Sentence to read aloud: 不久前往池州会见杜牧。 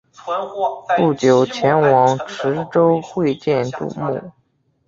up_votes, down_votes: 1, 2